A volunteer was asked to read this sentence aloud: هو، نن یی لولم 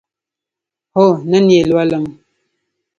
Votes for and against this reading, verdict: 1, 2, rejected